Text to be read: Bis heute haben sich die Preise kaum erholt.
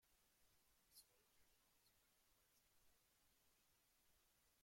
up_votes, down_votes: 0, 2